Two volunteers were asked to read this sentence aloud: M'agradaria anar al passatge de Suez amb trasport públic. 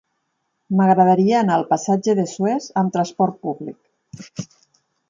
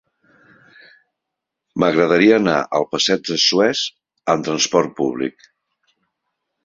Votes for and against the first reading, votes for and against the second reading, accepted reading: 4, 0, 1, 4, first